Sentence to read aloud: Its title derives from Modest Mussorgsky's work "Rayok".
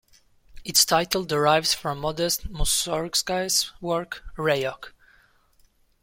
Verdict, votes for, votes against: accepted, 2, 0